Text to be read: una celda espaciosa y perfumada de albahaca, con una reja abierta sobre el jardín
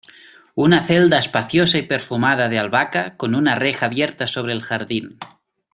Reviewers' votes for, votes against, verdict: 2, 0, accepted